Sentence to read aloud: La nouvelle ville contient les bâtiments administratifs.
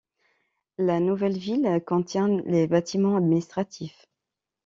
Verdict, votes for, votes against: accepted, 2, 0